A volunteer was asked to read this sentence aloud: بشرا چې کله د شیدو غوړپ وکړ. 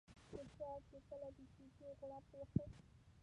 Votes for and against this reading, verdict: 1, 3, rejected